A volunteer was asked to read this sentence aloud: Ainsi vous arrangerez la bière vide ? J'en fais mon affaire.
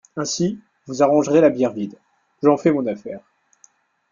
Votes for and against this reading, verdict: 2, 1, accepted